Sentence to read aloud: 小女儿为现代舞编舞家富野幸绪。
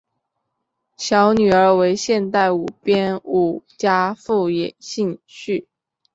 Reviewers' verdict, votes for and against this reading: accepted, 3, 0